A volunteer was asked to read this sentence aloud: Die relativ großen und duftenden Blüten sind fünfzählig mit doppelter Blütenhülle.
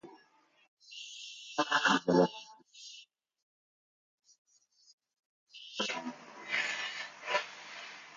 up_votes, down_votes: 0, 2